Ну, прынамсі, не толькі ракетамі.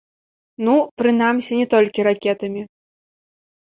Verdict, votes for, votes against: accepted, 2, 0